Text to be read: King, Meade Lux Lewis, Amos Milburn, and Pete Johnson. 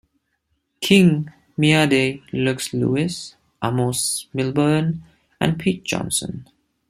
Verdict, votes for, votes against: rejected, 1, 2